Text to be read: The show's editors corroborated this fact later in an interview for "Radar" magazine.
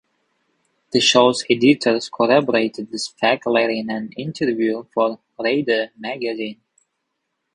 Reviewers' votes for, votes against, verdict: 0, 3, rejected